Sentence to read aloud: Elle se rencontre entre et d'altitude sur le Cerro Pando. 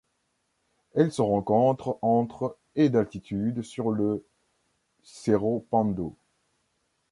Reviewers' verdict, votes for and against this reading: accepted, 2, 0